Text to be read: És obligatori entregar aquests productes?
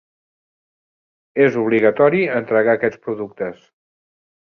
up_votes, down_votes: 1, 3